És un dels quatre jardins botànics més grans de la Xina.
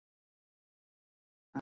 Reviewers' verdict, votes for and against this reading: rejected, 0, 9